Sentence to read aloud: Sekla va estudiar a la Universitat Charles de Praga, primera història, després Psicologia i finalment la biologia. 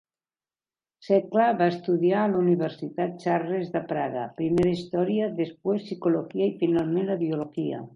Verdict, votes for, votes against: rejected, 0, 2